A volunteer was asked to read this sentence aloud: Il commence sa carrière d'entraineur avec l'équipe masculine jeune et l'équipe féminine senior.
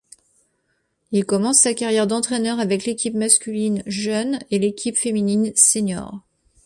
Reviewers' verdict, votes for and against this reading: accepted, 2, 0